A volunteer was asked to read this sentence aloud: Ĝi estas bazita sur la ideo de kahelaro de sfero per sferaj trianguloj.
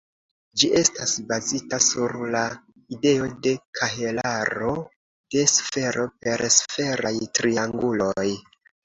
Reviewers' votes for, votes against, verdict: 2, 0, accepted